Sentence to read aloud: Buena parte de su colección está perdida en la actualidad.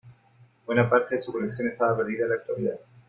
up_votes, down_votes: 2, 1